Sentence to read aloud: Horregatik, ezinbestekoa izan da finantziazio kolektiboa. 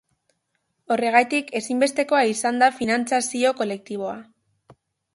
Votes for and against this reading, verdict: 1, 2, rejected